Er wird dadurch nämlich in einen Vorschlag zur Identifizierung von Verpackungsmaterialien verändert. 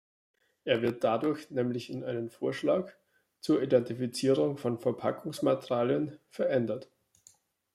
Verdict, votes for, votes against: accepted, 2, 0